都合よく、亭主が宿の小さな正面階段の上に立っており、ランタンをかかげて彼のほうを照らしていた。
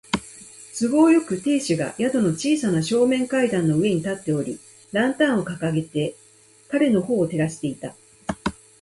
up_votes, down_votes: 4, 0